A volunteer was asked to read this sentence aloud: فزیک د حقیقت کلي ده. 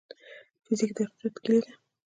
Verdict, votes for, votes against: rejected, 1, 2